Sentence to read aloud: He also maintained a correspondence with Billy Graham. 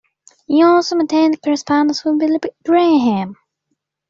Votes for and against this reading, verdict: 1, 2, rejected